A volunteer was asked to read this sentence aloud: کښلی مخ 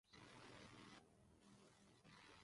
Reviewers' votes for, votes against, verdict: 0, 2, rejected